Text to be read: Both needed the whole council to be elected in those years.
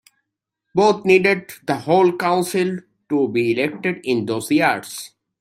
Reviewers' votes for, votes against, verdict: 2, 0, accepted